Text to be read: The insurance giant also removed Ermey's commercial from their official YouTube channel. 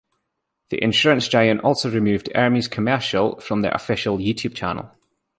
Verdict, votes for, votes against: accepted, 2, 0